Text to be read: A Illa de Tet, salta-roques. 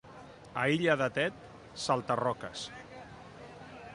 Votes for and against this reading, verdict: 2, 0, accepted